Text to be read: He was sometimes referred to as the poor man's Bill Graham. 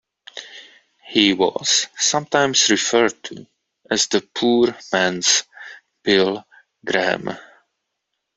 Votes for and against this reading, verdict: 2, 0, accepted